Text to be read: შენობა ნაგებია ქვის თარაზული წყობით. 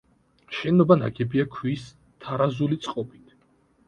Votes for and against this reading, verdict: 2, 0, accepted